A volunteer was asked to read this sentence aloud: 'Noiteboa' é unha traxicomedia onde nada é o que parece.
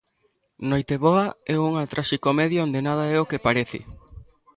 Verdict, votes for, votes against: accepted, 2, 0